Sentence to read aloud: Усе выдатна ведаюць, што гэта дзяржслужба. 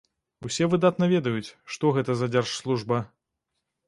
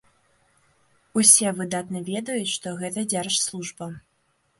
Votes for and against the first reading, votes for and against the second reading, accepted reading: 0, 2, 2, 0, second